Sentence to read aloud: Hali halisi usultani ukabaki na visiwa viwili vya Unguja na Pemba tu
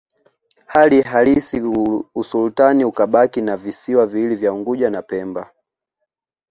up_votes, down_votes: 2, 0